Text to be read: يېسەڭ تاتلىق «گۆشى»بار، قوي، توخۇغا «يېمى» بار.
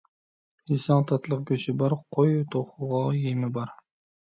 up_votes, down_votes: 2, 1